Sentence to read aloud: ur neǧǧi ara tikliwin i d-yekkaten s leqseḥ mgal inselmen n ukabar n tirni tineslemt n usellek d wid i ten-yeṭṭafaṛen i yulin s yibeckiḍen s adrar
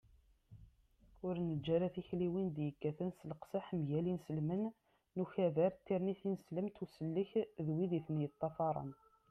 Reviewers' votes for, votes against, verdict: 0, 2, rejected